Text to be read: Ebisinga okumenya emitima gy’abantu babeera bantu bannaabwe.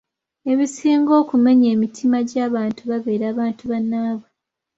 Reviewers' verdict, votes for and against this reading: accepted, 2, 0